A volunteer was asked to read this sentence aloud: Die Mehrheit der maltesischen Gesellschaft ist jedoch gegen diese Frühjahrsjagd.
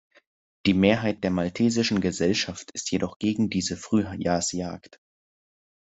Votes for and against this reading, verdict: 1, 2, rejected